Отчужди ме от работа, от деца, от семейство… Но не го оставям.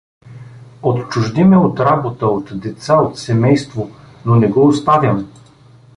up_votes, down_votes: 2, 0